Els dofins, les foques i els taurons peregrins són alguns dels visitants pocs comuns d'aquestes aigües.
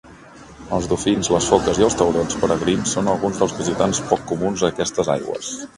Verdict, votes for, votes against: accepted, 2, 0